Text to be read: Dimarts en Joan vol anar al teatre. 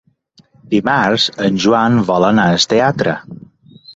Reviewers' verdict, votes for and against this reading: rejected, 0, 2